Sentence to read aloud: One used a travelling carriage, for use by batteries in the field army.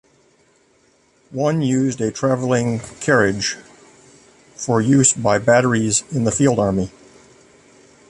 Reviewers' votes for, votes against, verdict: 2, 1, accepted